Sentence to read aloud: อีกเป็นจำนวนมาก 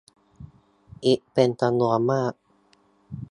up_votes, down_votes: 1, 2